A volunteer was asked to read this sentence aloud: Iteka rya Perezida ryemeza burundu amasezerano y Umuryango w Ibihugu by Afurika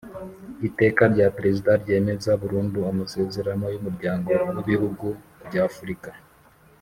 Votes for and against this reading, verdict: 3, 0, accepted